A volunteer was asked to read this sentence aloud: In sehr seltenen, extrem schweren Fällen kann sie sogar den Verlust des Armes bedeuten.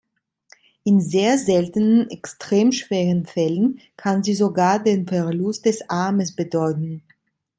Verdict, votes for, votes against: accepted, 3, 0